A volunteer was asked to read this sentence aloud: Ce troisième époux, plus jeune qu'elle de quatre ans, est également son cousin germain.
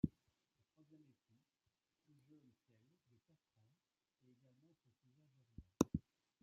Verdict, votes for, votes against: accepted, 2, 0